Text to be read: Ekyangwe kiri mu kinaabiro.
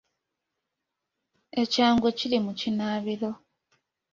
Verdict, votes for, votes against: accepted, 2, 0